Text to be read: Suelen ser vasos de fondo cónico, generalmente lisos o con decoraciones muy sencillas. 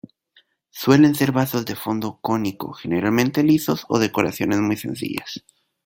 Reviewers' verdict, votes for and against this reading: rejected, 1, 2